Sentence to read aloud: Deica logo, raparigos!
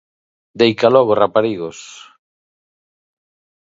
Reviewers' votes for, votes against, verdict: 2, 0, accepted